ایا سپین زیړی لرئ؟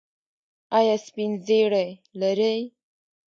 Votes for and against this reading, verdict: 2, 1, accepted